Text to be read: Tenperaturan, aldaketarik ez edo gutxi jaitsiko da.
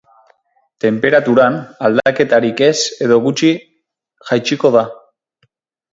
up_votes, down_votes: 4, 6